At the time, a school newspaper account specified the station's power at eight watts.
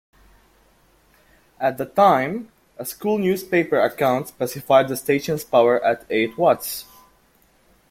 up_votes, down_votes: 2, 0